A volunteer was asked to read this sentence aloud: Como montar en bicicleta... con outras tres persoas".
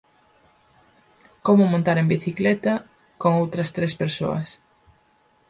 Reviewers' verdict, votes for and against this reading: accepted, 4, 0